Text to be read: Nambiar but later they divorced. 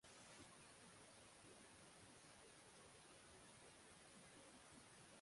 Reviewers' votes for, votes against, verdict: 0, 6, rejected